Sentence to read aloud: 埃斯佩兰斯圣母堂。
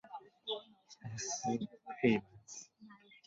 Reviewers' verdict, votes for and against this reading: rejected, 0, 2